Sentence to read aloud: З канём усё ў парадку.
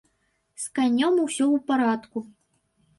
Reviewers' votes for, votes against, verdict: 2, 0, accepted